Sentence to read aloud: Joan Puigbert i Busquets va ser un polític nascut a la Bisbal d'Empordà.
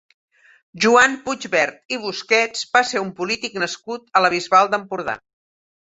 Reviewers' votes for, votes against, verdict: 2, 0, accepted